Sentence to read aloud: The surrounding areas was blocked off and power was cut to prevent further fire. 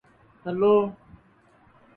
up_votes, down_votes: 0, 2